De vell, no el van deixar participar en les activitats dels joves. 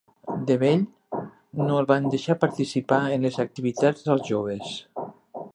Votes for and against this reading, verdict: 3, 0, accepted